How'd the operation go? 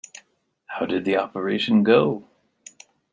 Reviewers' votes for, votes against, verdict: 1, 2, rejected